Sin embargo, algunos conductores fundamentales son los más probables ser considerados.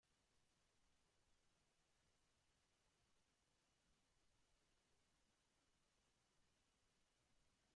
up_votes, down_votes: 0, 2